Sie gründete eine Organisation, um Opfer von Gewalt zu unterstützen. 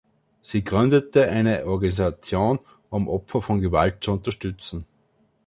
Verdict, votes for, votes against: rejected, 1, 2